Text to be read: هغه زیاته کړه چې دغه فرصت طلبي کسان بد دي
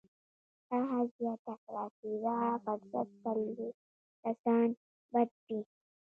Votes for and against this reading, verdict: 0, 2, rejected